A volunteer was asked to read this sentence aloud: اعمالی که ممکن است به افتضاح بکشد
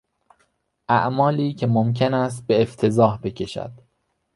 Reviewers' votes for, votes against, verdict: 2, 1, accepted